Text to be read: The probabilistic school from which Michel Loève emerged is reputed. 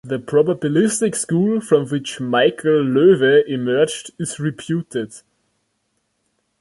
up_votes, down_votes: 2, 0